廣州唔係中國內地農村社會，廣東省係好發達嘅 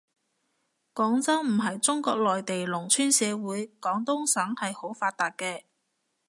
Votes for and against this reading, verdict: 2, 0, accepted